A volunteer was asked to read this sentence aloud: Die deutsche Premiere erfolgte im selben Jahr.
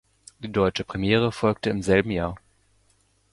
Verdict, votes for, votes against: rejected, 1, 2